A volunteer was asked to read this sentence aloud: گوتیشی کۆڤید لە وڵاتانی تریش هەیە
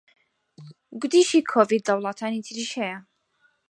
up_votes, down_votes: 4, 0